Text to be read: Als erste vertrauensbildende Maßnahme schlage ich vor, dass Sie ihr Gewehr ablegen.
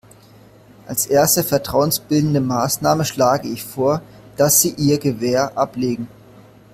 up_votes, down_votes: 2, 0